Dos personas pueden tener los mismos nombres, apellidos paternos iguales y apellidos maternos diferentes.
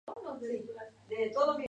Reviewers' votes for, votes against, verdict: 0, 4, rejected